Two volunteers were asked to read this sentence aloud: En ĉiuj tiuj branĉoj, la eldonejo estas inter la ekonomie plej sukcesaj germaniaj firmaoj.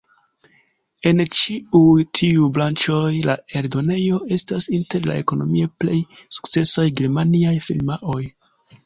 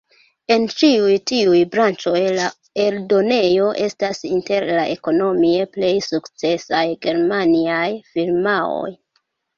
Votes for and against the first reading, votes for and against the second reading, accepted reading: 4, 0, 1, 2, first